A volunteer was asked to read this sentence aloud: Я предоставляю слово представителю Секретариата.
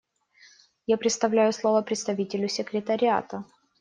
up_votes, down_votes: 1, 2